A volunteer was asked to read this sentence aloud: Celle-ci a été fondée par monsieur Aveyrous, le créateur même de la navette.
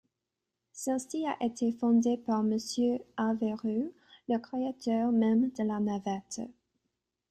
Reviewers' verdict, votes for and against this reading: accepted, 2, 0